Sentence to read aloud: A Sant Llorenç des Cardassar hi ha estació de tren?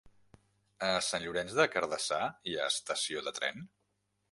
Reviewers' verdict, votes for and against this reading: rejected, 1, 2